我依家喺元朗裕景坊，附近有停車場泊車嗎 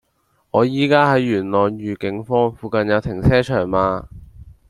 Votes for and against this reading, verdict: 0, 2, rejected